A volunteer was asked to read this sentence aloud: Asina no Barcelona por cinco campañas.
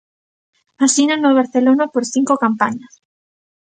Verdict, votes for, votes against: accepted, 2, 0